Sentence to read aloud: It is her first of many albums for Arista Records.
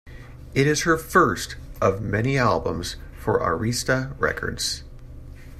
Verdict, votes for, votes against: accepted, 2, 0